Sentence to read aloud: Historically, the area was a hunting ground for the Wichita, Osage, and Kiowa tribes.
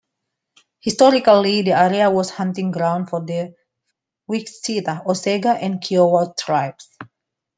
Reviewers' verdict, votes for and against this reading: rejected, 0, 2